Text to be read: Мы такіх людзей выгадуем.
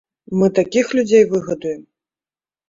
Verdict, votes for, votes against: accepted, 2, 1